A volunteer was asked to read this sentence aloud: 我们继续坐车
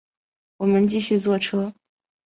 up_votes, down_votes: 4, 0